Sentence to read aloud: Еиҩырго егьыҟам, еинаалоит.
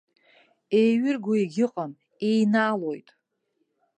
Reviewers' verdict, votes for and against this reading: accepted, 2, 0